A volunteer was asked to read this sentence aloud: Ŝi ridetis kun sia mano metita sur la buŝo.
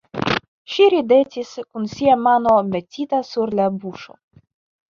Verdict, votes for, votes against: accepted, 2, 1